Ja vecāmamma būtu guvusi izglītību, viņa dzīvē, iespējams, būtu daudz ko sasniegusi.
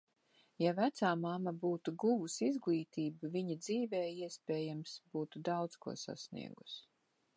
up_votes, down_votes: 2, 0